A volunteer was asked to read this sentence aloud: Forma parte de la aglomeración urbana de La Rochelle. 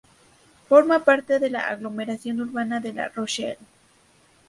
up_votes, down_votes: 4, 0